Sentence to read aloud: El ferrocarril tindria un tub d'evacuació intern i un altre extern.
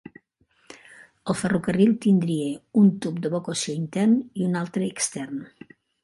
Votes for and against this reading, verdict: 2, 0, accepted